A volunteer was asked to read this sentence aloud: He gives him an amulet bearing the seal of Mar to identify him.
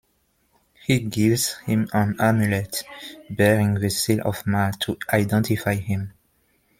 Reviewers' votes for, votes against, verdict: 2, 0, accepted